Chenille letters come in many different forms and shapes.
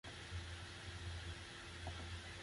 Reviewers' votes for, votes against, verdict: 0, 2, rejected